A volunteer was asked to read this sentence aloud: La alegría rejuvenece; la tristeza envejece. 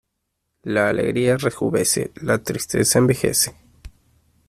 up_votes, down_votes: 1, 2